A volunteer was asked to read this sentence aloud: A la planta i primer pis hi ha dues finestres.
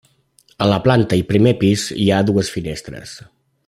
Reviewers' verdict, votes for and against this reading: accepted, 3, 0